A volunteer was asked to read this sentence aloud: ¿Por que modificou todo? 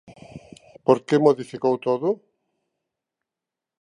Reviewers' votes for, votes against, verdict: 3, 0, accepted